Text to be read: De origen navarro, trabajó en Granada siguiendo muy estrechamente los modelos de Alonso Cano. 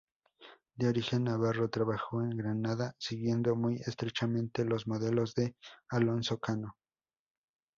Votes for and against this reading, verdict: 2, 0, accepted